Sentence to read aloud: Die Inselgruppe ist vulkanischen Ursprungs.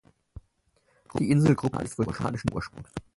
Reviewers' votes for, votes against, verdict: 0, 4, rejected